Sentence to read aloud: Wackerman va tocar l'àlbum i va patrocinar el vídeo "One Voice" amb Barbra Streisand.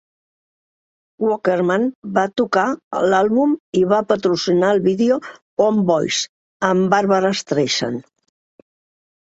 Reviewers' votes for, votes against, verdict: 1, 2, rejected